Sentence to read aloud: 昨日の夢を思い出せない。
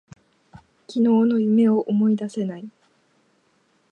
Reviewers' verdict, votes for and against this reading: accepted, 2, 0